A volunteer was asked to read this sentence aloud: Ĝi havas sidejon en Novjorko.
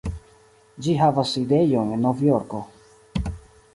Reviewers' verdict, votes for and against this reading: rejected, 1, 2